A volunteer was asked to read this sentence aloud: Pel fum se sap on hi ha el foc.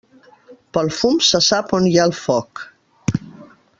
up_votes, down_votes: 3, 0